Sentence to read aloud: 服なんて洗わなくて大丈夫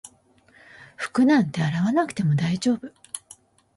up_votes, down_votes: 0, 2